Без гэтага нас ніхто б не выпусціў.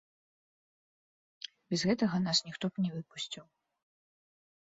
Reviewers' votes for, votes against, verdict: 2, 0, accepted